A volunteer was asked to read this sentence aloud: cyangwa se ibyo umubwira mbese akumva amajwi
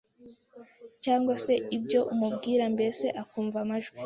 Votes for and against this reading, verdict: 2, 0, accepted